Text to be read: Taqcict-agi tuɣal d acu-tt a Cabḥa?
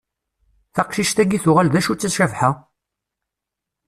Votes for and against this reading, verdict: 2, 0, accepted